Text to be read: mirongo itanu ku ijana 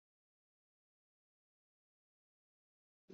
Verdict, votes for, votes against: rejected, 0, 2